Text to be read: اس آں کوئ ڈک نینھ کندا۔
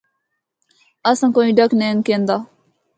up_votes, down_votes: 2, 1